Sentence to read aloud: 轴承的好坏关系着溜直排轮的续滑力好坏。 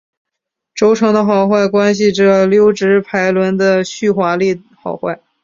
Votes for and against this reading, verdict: 3, 0, accepted